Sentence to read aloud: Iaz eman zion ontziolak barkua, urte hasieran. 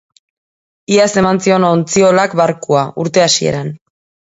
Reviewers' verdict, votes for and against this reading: accepted, 2, 0